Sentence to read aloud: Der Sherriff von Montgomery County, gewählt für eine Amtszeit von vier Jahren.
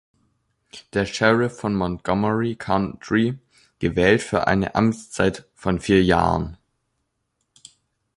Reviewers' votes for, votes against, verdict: 0, 2, rejected